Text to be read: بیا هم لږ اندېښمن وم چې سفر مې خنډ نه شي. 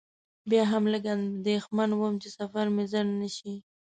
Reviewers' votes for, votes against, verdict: 2, 1, accepted